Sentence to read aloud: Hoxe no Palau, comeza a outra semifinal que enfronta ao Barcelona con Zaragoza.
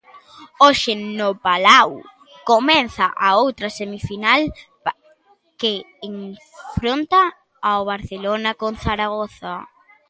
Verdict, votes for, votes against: rejected, 1, 2